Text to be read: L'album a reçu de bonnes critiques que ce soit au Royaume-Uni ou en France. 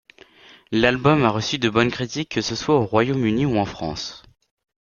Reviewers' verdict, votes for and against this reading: accepted, 2, 1